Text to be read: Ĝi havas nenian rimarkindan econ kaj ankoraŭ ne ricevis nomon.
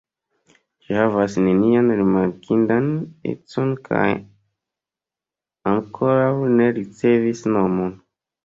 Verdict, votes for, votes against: rejected, 1, 2